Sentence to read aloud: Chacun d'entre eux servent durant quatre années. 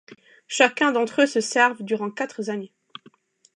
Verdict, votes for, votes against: rejected, 0, 2